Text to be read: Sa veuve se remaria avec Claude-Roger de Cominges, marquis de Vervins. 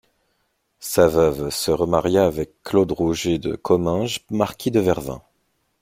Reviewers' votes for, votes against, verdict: 2, 0, accepted